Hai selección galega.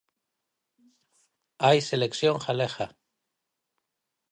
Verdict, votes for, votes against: accepted, 6, 0